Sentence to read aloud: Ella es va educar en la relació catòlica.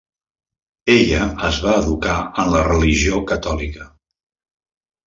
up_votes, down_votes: 0, 2